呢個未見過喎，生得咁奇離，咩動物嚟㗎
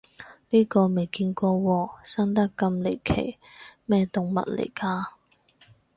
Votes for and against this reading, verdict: 0, 4, rejected